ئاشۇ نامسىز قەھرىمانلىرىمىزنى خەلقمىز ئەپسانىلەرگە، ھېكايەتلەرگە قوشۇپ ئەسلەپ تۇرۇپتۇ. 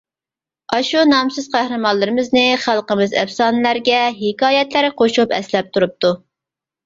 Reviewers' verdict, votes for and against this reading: accepted, 2, 0